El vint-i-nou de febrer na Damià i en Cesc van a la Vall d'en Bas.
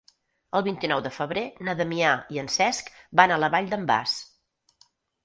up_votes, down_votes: 4, 0